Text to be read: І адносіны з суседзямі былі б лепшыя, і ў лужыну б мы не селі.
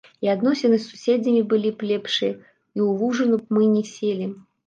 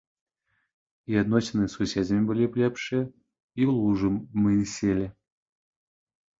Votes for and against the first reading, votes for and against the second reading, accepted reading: 2, 1, 0, 2, first